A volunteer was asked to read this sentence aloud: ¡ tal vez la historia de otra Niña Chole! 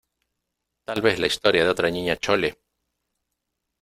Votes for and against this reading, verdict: 2, 0, accepted